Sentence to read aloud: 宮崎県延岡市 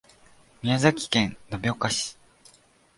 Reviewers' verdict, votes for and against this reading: accepted, 2, 0